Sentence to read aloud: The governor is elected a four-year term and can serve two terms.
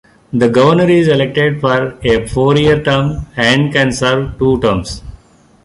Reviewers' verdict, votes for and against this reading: rejected, 1, 2